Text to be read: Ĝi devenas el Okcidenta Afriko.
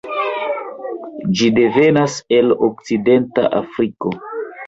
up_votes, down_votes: 2, 0